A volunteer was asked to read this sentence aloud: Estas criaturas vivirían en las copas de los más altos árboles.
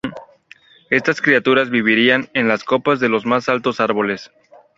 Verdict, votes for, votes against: accepted, 2, 0